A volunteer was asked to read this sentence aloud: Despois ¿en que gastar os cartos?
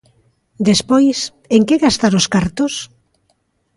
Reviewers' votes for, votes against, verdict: 2, 0, accepted